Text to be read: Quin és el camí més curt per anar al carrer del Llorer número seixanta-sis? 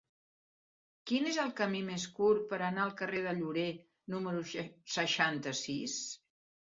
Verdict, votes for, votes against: rejected, 1, 2